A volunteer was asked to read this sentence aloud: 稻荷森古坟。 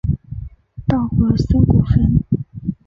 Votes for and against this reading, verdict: 2, 0, accepted